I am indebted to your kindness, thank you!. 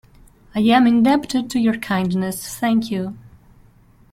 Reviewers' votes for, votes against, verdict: 1, 2, rejected